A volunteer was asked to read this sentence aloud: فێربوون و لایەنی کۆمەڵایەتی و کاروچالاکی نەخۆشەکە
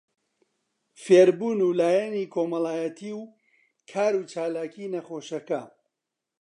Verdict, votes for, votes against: accepted, 2, 0